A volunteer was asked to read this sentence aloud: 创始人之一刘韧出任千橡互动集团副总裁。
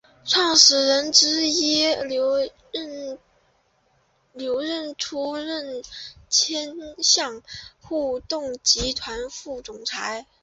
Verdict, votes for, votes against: rejected, 1, 2